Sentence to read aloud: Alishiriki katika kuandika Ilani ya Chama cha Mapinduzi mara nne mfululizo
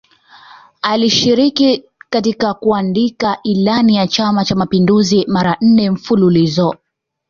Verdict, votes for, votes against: accepted, 2, 1